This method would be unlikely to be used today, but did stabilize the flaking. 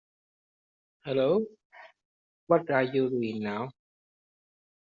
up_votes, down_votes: 0, 2